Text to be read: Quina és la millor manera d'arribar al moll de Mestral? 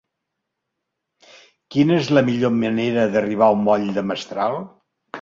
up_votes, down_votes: 0, 2